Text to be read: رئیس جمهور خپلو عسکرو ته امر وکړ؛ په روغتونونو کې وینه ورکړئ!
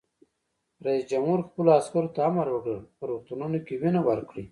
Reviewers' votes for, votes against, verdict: 1, 2, rejected